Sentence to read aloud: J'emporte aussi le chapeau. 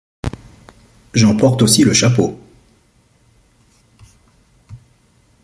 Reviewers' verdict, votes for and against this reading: accepted, 2, 0